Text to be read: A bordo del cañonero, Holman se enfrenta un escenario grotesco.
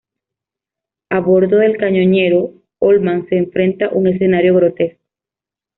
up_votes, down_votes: 1, 2